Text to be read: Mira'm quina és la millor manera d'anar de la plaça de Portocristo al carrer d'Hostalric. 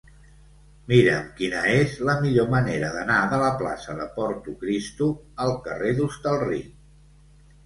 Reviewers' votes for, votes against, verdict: 2, 0, accepted